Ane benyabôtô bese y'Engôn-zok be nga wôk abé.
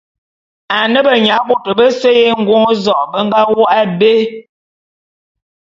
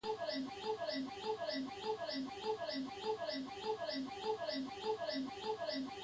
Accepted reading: first